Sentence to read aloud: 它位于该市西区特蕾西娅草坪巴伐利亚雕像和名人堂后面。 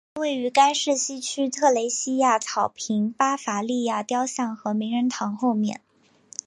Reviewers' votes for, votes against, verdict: 5, 0, accepted